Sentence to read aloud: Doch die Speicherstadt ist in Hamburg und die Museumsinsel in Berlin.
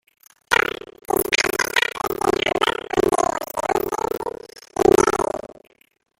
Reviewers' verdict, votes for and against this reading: rejected, 1, 2